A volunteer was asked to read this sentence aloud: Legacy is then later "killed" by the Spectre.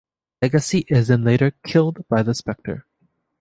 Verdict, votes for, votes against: rejected, 0, 2